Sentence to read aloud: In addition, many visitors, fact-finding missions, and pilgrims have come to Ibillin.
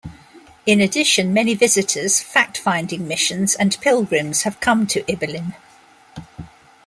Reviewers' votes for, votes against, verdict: 2, 0, accepted